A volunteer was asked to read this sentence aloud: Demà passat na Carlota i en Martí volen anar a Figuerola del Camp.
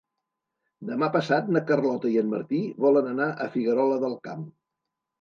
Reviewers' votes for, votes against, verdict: 3, 0, accepted